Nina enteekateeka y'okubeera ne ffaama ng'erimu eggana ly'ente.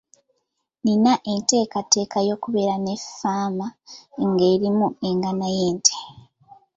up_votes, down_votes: 2, 0